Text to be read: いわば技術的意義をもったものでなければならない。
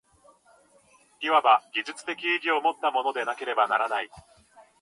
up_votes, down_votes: 2, 1